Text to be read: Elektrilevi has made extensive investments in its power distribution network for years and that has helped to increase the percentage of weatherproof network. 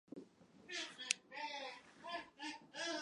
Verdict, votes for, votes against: rejected, 0, 2